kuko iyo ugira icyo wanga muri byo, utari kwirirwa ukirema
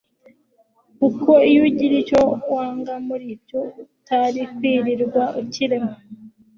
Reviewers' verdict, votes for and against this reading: rejected, 1, 2